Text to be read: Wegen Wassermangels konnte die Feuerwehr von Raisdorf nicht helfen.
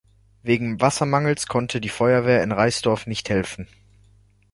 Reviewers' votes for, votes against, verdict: 0, 2, rejected